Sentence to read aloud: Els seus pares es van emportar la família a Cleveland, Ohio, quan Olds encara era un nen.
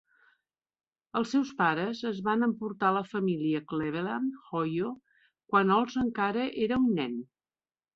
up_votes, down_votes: 2, 0